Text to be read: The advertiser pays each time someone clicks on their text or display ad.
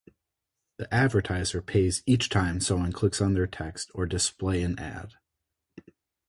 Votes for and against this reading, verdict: 0, 2, rejected